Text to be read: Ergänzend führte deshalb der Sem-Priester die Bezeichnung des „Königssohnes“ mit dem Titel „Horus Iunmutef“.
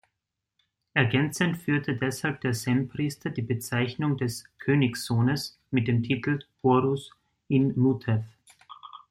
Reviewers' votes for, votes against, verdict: 0, 3, rejected